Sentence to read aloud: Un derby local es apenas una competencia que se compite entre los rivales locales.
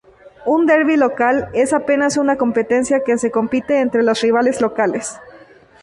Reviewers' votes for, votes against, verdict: 2, 0, accepted